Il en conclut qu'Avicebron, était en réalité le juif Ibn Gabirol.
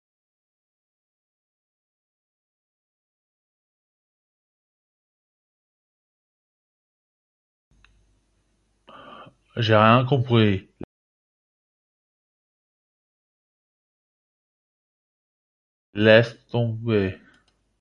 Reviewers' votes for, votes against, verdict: 0, 2, rejected